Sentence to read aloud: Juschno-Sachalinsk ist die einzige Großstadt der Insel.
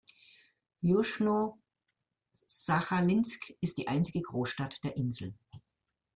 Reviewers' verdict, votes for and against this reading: rejected, 1, 2